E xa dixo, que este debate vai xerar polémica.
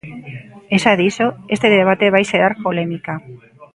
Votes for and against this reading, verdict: 1, 2, rejected